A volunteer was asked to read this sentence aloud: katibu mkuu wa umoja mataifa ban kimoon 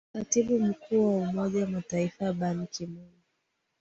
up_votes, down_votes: 1, 2